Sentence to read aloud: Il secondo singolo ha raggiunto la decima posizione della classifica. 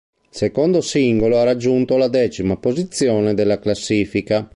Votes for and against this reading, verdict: 1, 2, rejected